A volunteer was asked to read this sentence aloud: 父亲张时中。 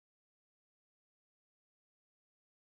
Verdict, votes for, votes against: rejected, 0, 4